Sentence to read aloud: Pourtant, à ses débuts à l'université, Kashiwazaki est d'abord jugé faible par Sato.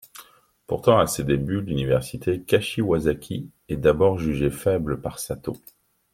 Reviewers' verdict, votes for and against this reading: rejected, 0, 2